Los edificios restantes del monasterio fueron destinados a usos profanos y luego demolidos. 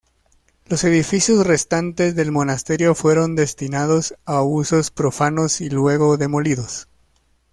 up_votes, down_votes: 2, 0